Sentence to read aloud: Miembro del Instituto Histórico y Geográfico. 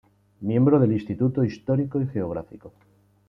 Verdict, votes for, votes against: accepted, 2, 1